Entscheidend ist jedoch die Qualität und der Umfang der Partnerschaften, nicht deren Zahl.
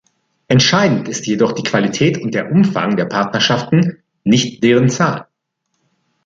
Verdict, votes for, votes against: accepted, 2, 0